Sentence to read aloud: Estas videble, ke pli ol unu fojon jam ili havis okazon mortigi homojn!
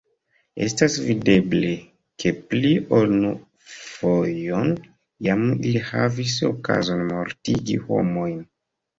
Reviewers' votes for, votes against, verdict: 0, 2, rejected